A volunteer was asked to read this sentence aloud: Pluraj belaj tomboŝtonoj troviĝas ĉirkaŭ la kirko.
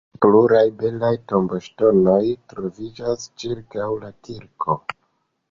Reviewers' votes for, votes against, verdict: 2, 1, accepted